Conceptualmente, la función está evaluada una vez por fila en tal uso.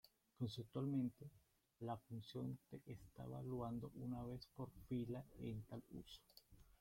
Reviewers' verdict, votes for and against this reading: rejected, 0, 2